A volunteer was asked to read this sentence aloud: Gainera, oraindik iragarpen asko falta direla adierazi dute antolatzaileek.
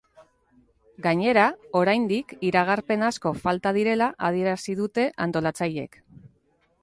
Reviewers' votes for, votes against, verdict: 1, 2, rejected